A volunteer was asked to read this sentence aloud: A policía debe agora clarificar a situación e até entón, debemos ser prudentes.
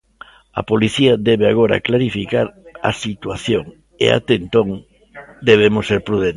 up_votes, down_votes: 0, 2